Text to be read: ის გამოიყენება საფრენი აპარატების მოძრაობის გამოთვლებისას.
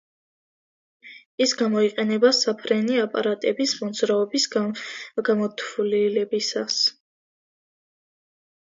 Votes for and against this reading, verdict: 0, 2, rejected